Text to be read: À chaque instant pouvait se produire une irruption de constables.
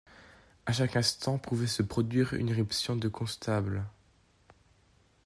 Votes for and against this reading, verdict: 2, 0, accepted